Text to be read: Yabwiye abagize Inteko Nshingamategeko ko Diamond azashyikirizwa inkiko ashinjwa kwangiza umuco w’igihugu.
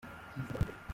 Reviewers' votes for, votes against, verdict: 0, 2, rejected